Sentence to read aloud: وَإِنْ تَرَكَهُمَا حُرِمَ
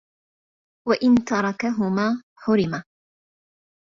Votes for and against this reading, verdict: 2, 0, accepted